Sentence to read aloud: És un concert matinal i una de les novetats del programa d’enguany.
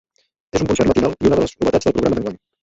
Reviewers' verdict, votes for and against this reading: rejected, 1, 2